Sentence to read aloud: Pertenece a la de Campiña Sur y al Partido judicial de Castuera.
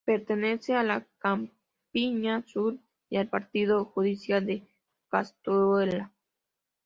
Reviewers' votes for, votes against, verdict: 0, 2, rejected